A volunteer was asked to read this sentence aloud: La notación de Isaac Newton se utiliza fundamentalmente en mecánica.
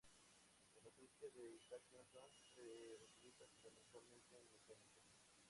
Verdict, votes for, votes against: rejected, 0, 2